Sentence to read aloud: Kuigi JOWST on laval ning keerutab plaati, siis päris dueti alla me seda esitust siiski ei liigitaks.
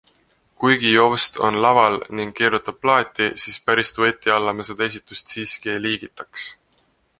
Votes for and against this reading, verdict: 2, 0, accepted